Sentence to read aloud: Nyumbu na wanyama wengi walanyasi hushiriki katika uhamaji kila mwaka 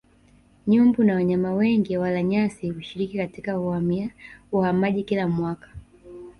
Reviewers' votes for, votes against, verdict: 3, 1, accepted